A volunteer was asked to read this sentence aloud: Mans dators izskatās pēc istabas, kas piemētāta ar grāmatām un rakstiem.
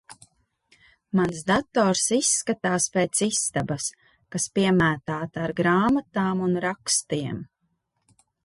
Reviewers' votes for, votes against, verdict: 2, 0, accepted